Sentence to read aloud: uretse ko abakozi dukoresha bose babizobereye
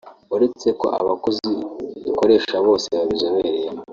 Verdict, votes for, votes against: rejected, 0, 2